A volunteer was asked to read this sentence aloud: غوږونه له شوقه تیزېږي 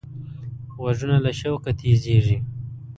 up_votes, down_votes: 2, 0